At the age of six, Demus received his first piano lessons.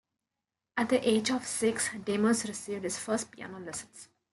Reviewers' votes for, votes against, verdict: 2, 0, accepted